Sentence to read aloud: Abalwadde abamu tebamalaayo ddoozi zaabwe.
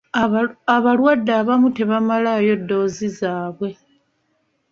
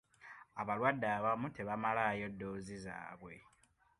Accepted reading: second